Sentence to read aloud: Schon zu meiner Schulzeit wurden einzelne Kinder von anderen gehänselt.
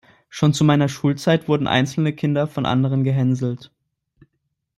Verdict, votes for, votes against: accepted, 2, 0